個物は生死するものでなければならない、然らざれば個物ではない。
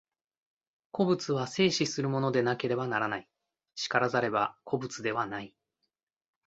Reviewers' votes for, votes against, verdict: 2, 0, accepted